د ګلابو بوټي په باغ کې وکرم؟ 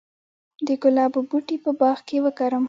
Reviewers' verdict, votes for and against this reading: accepted, 2, 0